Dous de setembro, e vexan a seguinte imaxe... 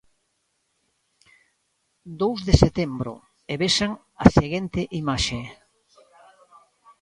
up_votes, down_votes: 0, 2